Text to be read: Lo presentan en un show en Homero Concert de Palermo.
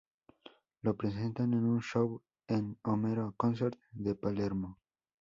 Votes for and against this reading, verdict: 4, 0, accepted